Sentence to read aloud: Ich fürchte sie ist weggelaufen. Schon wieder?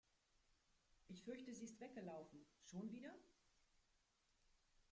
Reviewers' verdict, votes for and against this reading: rejected, 1, 2